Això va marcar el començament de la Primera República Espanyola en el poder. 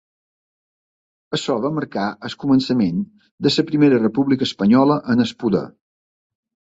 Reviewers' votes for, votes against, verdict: 2, 1, accepted